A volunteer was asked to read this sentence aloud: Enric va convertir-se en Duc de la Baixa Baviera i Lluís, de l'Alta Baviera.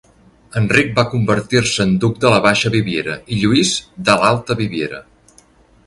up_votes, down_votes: 0, 2